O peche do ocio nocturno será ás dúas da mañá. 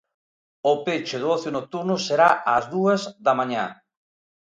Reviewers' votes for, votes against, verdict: 2, 0, accepted